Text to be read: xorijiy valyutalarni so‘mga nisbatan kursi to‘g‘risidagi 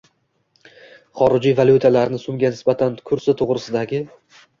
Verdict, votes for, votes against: accepted, 2, 1